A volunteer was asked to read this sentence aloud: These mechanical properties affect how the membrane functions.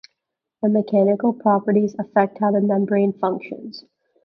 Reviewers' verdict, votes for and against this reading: rejected, 0, 2